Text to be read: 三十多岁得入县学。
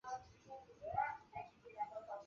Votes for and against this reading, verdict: 1, 3, rejected